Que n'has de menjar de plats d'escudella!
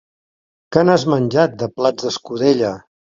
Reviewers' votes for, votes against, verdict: 0, 2, rejected